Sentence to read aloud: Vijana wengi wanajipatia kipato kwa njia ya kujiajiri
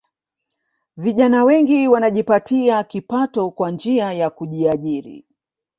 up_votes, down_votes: 1, 2